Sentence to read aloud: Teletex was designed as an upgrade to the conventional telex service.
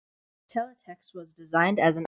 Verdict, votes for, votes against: rejected, 0, 2